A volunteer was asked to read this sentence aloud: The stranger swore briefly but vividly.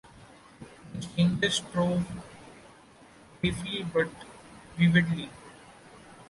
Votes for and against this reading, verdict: 0, 2, rejected